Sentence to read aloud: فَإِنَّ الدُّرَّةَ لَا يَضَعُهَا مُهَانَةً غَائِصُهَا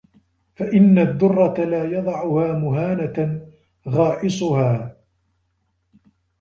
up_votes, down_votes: 2, 1